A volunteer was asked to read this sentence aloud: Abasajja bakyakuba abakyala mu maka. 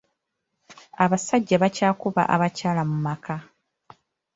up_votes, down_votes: 2, 1